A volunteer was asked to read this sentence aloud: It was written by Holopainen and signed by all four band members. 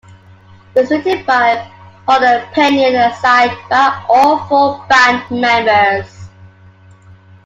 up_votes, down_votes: 0, 2